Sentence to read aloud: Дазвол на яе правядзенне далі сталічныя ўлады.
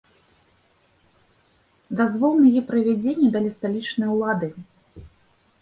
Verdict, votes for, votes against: accepted, 2, 0